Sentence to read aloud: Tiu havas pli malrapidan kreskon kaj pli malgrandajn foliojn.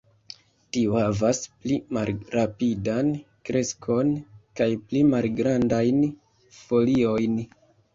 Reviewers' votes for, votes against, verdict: 1, 3, rejected